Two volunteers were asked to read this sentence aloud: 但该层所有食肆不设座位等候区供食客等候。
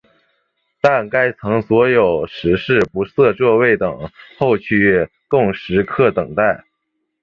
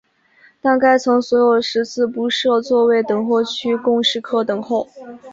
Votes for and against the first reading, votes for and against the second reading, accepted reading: 0, 2, 6, 3, second